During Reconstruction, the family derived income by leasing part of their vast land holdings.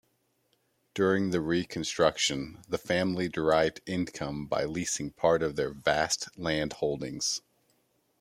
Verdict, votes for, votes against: rejected, 1, 2